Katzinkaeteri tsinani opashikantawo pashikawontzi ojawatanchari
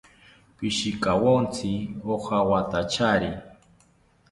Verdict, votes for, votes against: rejected, 1, 2